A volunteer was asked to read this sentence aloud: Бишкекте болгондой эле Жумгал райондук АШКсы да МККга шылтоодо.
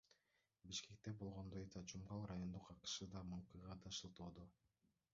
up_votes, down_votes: 0, 2